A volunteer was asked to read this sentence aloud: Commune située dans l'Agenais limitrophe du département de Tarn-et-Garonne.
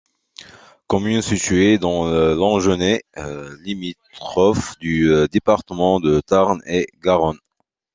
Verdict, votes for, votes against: rejected, 0, 2